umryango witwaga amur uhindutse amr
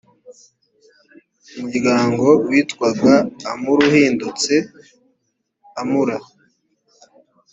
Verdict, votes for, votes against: accepted, 2, 0